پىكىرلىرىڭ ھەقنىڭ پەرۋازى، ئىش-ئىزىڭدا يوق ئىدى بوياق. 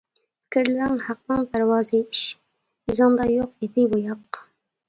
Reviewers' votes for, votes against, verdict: 0, 2, rejected